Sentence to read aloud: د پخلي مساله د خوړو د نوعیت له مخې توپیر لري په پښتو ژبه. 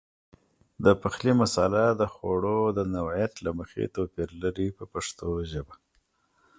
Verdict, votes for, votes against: accepted, 2, 0